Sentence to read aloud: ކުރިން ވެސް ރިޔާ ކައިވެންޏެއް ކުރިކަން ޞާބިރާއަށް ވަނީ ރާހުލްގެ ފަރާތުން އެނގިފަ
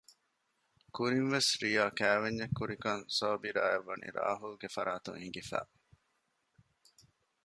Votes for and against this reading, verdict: 2, 0, accepted